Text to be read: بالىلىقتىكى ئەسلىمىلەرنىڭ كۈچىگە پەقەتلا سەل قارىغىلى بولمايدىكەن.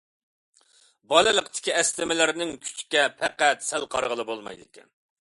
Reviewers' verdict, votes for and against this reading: rejected, 0, 2